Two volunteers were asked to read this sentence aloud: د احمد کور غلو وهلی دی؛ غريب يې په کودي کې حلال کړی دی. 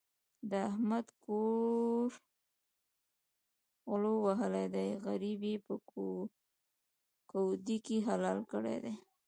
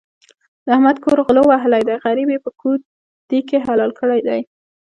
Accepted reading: second